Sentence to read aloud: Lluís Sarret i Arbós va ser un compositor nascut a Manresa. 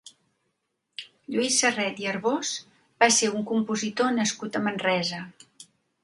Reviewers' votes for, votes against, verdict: 2, 0, accepted